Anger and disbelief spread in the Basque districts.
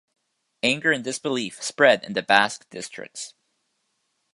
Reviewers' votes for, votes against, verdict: 2, 0, accepted